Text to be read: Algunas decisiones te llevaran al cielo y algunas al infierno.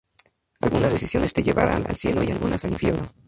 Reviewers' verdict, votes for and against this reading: accepted, 2, 0